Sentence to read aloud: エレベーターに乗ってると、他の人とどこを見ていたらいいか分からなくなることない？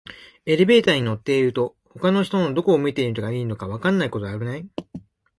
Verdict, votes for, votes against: rejected, 1, 2